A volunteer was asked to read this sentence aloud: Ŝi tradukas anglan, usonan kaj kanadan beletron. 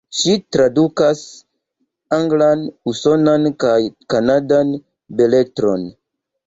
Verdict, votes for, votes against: accepted, 2, 1